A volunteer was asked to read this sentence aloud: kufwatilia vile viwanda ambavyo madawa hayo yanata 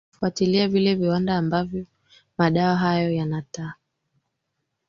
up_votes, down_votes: 2, 1